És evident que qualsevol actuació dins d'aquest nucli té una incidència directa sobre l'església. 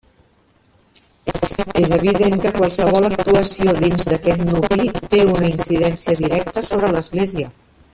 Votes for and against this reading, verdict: 0, 2, rejected